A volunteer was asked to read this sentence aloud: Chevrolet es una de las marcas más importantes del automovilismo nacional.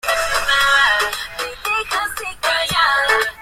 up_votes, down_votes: 0, 2